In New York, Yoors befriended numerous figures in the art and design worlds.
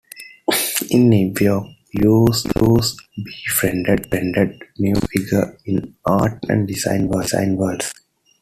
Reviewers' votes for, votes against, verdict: 0, 2, rejected